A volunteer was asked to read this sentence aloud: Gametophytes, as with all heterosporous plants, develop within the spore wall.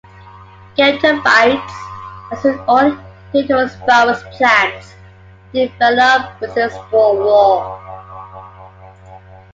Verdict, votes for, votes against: rejected, 0, 2